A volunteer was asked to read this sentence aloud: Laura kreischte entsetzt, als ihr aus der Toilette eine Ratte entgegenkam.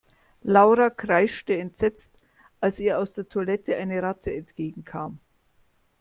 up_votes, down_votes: 2, 0